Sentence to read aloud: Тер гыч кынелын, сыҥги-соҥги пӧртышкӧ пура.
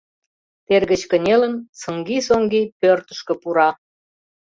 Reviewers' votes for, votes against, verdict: 2, 1, accepted